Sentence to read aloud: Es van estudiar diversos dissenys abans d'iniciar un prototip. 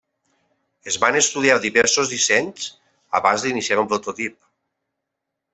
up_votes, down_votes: 2, 0